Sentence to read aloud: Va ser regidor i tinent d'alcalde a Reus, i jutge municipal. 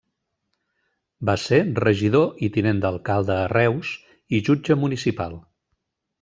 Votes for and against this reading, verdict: 2, 0, accepted